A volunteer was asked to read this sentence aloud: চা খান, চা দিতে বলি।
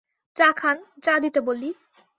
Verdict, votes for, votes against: accepted, 2, 0